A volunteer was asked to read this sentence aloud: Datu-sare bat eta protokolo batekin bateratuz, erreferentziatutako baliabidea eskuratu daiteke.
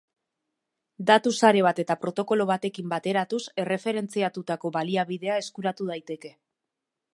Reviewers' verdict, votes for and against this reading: accepted, 3, 0